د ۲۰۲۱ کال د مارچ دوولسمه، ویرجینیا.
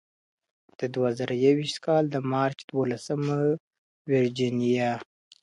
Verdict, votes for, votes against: rejected, 0, 2